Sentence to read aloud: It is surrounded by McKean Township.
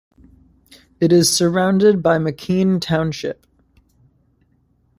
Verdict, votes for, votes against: accepted, 2, 0